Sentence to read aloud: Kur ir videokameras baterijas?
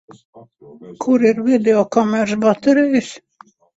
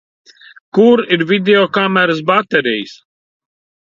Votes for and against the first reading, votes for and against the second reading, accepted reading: 0, 2, 2, 0, second